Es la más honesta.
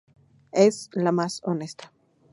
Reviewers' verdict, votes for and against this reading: accepted, 4, 0